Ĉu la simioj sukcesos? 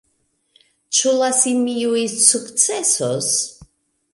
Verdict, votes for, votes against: rejected, 1, 2